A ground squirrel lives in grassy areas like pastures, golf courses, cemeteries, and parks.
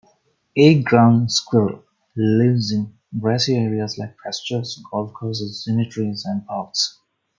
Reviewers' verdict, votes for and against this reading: accepted, 2, 0